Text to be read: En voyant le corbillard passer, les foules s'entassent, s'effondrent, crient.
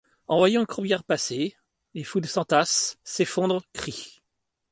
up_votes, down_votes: 2, 0